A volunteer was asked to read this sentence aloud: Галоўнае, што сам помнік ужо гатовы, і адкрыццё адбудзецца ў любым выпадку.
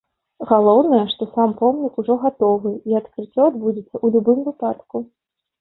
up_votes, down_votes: 2, 0